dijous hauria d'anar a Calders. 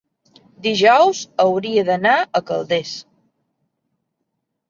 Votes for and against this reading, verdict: 3, 1, accepted